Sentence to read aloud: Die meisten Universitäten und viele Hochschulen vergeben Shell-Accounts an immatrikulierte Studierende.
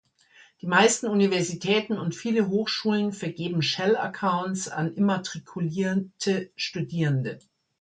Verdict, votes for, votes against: rejected, 1, 2